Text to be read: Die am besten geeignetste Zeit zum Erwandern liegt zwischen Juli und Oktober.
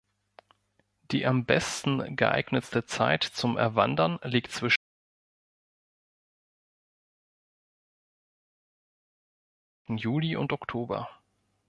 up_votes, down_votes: 2, 4